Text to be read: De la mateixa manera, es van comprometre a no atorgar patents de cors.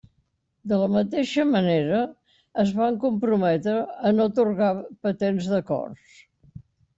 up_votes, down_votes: 2, 0